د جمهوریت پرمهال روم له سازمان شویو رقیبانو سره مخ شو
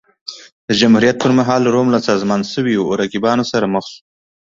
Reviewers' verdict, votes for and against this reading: accepted, 2, 0